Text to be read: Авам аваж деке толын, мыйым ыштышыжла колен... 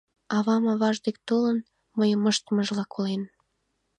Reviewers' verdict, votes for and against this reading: rejected, 1, 2